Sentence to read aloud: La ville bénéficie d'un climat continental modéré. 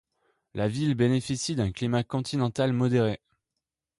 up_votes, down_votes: 2, 0